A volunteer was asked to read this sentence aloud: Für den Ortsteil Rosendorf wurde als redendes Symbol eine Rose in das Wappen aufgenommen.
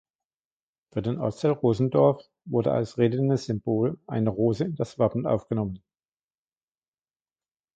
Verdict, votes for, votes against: accepted, 2, 1